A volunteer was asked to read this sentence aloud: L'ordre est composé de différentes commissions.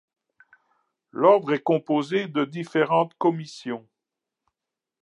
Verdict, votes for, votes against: accepted, 2, 0